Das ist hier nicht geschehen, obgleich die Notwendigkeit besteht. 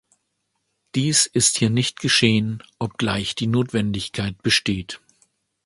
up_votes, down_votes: 1, 2